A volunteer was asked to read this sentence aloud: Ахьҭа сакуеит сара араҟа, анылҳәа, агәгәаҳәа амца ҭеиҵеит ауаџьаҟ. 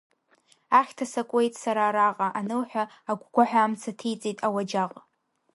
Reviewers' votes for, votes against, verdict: 2, 0, accepted